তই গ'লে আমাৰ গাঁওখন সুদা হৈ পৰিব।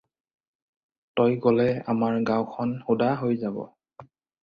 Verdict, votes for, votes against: rejected, 0, 4